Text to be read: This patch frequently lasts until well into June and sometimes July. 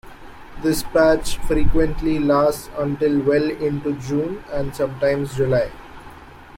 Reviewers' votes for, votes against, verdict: 2, 0, accepted